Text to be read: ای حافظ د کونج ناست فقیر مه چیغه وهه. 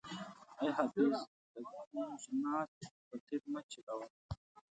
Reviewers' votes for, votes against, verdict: 0, 2, rejected